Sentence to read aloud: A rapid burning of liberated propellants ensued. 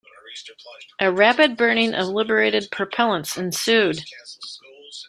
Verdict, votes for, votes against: accepted, 2, 0